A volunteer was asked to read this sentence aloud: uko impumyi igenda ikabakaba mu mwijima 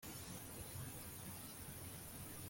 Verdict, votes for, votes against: rejected, 1, 2